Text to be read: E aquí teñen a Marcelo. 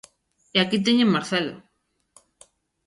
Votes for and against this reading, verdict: 0, 2, rejected